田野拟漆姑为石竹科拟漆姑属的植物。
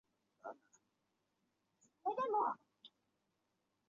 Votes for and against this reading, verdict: 0, 2, rejected